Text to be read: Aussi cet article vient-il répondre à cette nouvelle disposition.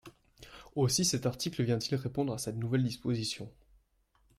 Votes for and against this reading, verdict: 2, 0, accepted